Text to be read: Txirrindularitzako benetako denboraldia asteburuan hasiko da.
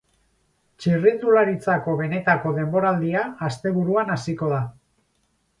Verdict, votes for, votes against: accepted, 6, 0